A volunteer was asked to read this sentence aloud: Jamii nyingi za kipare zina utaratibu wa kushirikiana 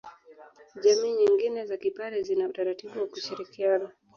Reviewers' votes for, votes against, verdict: 2, 0, accepted